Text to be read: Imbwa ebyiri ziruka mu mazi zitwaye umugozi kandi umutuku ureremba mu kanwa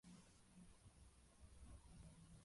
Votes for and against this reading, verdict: 0, 2, rejected